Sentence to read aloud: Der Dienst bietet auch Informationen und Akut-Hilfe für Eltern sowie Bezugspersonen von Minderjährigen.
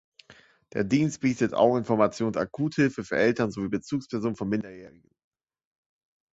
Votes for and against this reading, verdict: 1, 2, rejected